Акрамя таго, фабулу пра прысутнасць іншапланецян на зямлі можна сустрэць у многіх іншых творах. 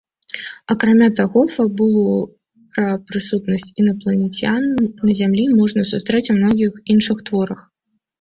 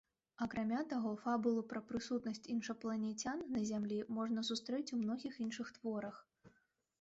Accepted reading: second